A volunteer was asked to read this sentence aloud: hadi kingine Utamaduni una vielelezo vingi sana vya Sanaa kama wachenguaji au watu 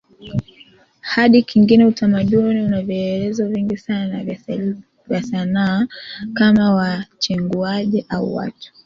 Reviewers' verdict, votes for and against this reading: accepted, 2, 1